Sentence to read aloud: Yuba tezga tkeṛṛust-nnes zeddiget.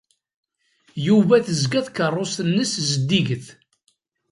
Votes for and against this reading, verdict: 2, 0, accepted